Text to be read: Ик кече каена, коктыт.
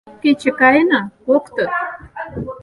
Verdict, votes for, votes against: rejected, 0, 4